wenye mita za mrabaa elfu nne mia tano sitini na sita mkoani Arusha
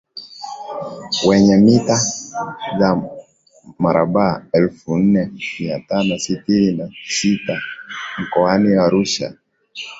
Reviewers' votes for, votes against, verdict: 0, 3, rejected